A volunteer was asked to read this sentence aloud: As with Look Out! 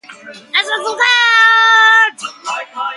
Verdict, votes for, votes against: rejected, 0, 2